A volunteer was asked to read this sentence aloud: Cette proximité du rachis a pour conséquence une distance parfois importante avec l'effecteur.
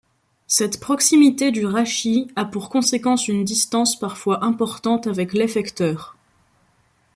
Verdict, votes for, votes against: accepted, 2, 0